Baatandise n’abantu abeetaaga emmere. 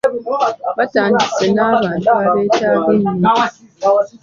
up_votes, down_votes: 1, 2